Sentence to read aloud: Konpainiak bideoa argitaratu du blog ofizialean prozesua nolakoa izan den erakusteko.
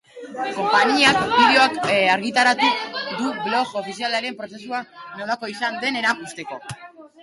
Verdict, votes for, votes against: rejected, 0, 2